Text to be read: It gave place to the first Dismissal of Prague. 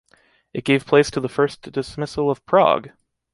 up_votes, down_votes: 2, 1